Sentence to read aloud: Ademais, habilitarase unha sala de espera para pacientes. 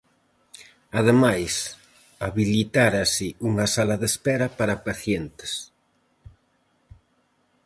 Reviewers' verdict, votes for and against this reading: rejected, 0, 4